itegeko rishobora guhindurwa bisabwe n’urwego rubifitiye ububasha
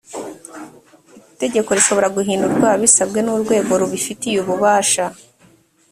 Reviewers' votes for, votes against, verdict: 2, 0, accepted